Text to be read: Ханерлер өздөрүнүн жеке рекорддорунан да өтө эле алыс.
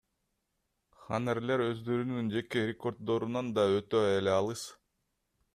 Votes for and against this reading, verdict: 2, 0, accepted